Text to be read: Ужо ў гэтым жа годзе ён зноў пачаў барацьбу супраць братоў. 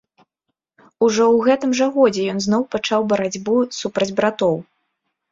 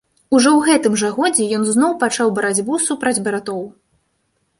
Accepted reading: first